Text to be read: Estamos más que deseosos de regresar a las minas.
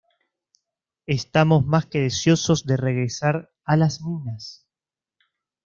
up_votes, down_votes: 1, 2